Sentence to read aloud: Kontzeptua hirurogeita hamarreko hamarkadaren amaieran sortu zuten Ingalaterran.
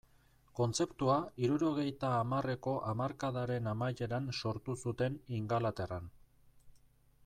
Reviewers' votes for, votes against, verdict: 2, 0, accepted